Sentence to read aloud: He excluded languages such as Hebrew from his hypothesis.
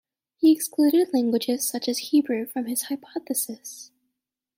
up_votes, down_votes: 2, 0